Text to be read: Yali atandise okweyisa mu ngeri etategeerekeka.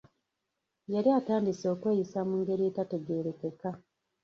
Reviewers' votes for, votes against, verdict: 1, 2, rejected